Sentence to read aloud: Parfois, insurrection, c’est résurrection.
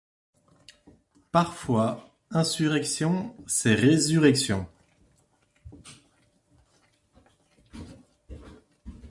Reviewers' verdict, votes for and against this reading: accepted, 2, 0